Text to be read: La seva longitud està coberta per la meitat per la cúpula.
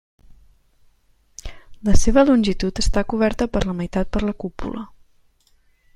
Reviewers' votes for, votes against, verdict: 3, 1, accepted